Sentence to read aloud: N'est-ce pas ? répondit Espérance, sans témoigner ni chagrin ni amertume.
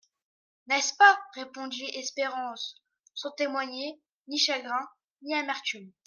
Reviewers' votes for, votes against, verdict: 2, 0, accepted